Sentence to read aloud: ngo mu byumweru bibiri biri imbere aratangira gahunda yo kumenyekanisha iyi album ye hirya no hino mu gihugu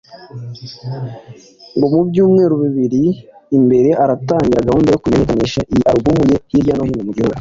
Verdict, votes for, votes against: accepted, 2, 1